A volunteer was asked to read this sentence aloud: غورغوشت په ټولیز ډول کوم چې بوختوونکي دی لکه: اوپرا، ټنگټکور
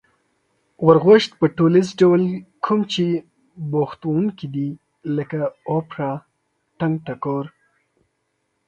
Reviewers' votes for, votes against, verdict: 2, 0, accepted